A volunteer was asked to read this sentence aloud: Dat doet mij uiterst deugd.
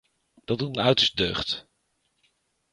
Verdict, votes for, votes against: rejected, 0, 2